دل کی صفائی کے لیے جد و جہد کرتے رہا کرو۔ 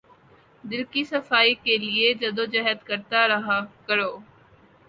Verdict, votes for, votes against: rejected, 0, 2